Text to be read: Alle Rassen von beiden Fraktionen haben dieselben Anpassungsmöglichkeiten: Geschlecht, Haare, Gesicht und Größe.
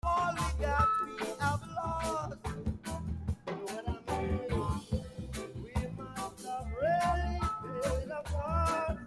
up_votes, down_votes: 0, 2